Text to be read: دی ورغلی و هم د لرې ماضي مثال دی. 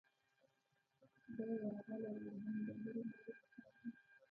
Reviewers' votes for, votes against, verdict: 0, 2, rejected